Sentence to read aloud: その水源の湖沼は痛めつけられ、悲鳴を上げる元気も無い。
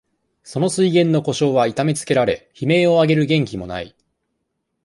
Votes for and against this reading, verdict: 2, 0, accepted